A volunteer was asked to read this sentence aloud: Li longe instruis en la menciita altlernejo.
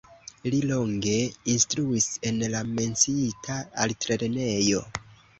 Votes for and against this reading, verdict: 1, 2, rejected